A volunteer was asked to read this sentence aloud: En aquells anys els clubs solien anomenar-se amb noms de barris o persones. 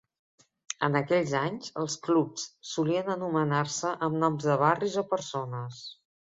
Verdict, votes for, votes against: accepted, 2, 0